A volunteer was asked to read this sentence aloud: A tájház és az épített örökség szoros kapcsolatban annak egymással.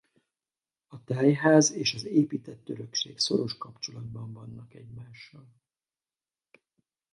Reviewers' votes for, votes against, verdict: 0, 2, rejected